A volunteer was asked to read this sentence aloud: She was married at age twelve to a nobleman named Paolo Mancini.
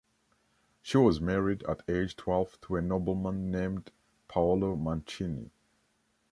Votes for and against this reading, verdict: 2, 0, accepted